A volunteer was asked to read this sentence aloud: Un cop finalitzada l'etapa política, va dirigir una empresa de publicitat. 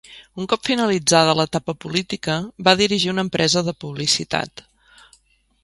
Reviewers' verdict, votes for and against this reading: accepted, 3, 0